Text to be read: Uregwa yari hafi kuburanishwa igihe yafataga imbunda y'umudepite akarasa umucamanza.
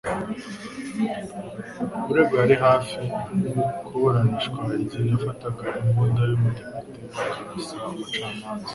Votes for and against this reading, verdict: 1, 2, rejected